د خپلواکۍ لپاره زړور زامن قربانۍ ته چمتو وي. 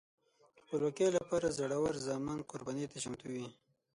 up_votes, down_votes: 3, 6